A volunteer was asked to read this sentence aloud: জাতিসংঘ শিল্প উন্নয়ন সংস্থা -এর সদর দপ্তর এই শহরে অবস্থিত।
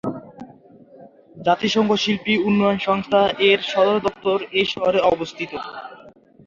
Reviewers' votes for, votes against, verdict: 1, 4, rejected